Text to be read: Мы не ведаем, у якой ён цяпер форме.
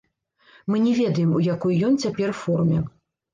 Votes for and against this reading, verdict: 0, 2, rejected